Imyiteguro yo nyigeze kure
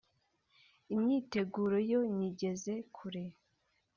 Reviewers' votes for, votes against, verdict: 2, 0, accepted